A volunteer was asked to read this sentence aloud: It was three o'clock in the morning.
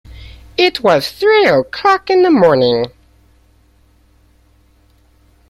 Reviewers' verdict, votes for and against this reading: accepted, 2, 0